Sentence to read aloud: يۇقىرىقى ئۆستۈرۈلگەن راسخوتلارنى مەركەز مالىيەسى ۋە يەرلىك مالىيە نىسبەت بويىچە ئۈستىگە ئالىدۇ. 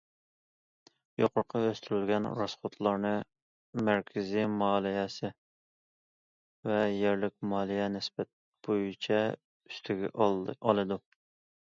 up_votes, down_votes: 0, 2